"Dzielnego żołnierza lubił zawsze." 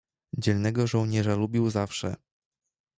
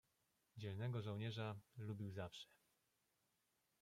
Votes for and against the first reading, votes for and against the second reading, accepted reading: 2, 0, 1, 2, first